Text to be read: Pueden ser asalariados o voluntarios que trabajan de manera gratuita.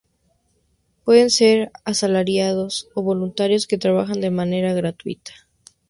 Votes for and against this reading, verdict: 2, 0, accepted